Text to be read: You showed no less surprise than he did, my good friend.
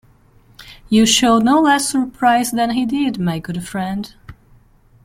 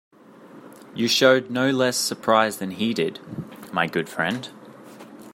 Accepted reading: second